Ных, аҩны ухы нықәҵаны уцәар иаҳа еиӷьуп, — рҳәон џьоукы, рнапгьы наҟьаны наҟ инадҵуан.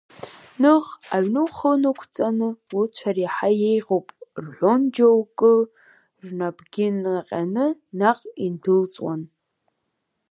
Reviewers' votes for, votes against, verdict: 1, 3, rejected